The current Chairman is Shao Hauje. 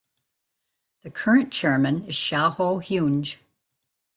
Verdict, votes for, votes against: accepted, 2, 0